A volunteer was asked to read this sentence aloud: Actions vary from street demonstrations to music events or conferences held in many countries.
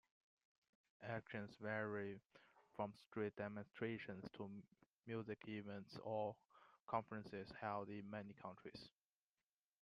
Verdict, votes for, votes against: accepted, 2, 0